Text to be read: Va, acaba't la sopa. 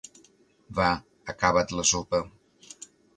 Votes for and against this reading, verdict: 2, 0, accepted